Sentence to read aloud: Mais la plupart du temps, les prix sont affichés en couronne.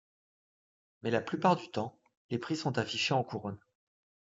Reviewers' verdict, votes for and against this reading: accepted, 2, 0